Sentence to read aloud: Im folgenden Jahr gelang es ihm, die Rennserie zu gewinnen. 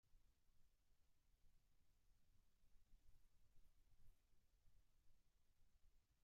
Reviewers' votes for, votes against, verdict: 0, 2, rejected